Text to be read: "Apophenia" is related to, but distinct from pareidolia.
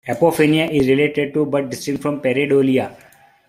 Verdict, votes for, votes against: accepted, 2, 1